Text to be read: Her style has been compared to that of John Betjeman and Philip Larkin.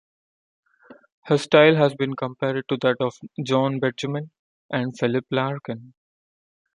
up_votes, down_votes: 2, 0